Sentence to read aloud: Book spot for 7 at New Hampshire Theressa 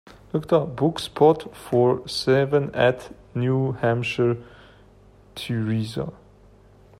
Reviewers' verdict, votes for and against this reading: rejected, 0, 2